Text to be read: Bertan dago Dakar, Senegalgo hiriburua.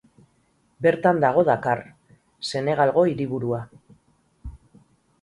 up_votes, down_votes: 6, 0